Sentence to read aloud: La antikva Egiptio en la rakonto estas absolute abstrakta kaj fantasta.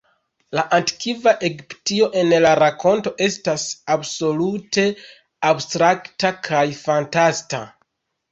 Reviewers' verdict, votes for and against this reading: rejected, 2, 3